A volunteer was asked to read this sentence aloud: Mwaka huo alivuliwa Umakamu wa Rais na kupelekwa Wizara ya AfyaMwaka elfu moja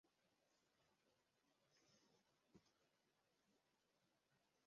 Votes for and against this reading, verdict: 0, 2, rejected